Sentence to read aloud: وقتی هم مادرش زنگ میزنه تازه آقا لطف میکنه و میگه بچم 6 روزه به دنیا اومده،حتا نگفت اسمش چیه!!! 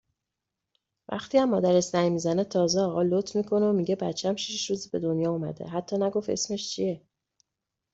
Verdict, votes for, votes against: rejected, 0, 2